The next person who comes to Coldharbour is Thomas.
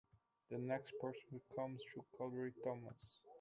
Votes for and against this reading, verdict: 1, 2, rejected